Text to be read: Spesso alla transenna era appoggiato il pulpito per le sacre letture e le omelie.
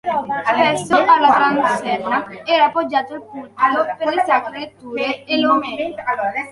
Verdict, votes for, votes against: rejected, 0, 2